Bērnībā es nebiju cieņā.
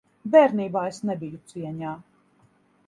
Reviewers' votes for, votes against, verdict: 2, 0, accepted